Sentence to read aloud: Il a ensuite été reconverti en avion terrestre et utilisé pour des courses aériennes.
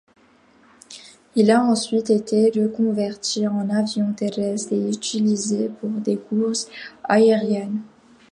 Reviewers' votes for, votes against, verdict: 2, 0, accepted